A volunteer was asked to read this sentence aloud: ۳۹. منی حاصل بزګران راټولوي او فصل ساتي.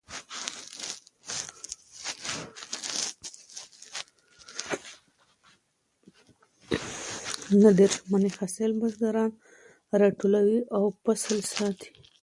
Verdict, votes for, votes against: rejected, 0, 2